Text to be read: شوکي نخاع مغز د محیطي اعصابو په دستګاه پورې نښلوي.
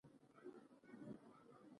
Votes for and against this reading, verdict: 1, 2, rejected